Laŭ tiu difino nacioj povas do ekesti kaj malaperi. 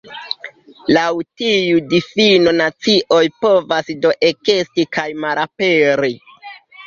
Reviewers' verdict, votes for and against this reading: accepted, 2, 0